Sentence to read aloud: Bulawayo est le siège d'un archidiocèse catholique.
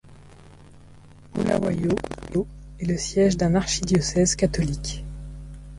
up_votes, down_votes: 0, 2